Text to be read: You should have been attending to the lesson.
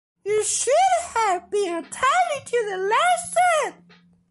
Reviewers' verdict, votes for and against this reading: accepted, 2, 1